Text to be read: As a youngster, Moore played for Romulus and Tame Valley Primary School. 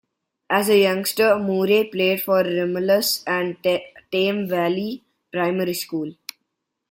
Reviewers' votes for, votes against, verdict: 2, 0, accepted